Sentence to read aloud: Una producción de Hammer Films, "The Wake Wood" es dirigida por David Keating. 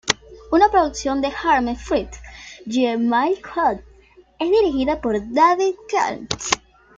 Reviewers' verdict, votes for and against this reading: rejected, 1, 2